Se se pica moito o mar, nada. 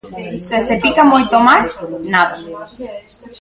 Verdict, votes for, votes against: rejected, 0, 2